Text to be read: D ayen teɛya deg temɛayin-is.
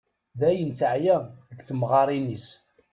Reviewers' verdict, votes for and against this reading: rejected, 1, 2